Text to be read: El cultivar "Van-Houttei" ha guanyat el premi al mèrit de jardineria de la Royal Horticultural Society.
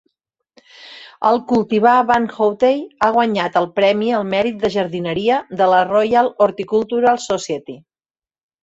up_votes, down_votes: 0, 4